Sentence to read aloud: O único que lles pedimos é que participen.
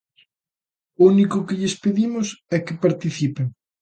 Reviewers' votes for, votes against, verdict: 2, 0, accepted